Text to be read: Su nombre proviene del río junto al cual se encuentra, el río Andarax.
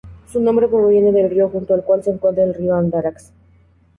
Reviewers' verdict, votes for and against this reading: accepted, 2, 0